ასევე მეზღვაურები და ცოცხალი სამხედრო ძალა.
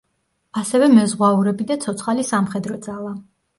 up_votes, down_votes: 2, 1